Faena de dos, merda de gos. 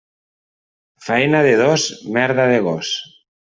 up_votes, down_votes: 2, 0